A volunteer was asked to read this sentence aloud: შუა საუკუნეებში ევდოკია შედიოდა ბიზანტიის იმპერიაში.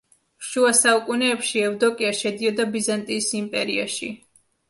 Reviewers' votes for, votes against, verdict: 2, 0, accepted